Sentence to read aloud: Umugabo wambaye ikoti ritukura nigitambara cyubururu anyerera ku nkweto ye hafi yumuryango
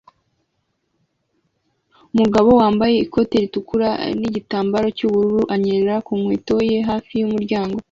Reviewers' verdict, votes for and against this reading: accepted, 2, 0